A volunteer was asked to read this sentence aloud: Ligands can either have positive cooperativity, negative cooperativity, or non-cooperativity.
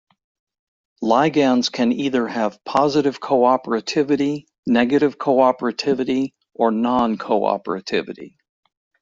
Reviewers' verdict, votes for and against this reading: rejected, 1, 2